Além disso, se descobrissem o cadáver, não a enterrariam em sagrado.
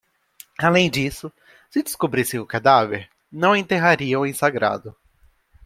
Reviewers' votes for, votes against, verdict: 2, 1, accepted